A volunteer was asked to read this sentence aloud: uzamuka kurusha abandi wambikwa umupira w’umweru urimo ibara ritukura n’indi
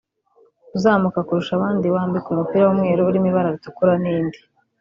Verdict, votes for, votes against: accepted, 2, 1